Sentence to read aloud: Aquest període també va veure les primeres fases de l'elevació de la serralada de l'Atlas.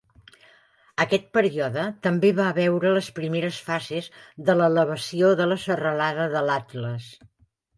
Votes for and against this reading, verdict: 0, 2, rejected